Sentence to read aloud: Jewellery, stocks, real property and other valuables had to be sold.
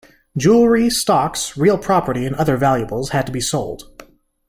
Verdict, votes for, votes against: accepted, 2, 0